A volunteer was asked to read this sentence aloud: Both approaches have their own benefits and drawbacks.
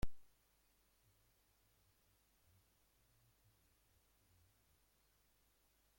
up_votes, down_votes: 0, 2